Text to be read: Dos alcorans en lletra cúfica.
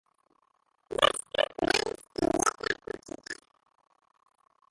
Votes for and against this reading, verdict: 0, 2, rejected